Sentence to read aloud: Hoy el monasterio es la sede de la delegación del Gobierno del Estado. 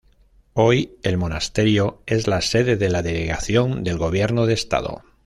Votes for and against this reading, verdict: 2, 0, accepted